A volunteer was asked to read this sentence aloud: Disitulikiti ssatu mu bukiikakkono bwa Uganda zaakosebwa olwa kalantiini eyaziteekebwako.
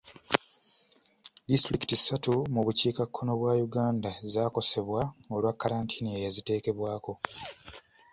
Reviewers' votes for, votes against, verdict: 2, 0, accepted